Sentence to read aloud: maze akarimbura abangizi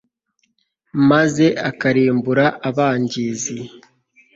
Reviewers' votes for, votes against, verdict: 2, 0, accepted